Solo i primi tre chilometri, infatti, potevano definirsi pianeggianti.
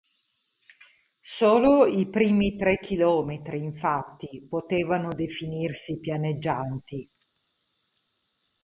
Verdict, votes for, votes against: rejected, 2, 2